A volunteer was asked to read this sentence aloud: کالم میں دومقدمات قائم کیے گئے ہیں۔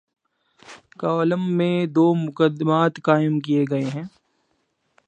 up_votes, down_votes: 2, 0